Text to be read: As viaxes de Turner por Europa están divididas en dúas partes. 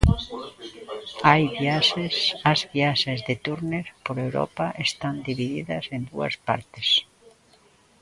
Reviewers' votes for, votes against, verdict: 1, 2, rejected